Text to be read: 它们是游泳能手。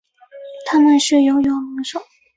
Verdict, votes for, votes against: rejected, 0, 2